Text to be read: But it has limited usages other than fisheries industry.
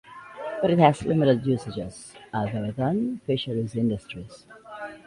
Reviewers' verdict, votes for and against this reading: accepted, 2, 1